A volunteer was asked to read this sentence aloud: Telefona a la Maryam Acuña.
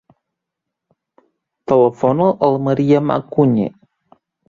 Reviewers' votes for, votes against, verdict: 0, 2, rejected